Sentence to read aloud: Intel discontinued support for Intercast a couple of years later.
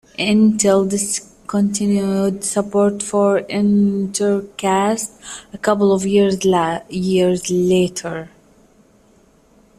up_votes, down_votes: 0, 2